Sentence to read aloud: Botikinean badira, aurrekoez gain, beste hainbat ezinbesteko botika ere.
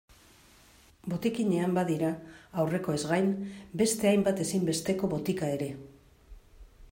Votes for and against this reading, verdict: 2, 0, accepted